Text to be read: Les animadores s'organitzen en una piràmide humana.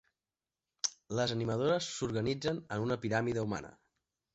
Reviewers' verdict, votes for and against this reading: accepted, 2, 0